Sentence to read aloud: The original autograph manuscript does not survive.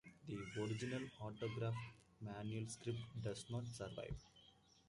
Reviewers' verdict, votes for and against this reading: accepted, 2, 0